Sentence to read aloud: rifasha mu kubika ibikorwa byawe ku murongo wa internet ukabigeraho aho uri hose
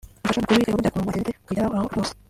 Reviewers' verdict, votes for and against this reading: rejected, 0, 2